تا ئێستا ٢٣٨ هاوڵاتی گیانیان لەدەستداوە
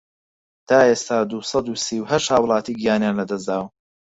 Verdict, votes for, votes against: rejected, 0, 2